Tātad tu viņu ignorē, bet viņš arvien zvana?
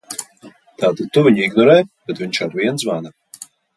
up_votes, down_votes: 2, 0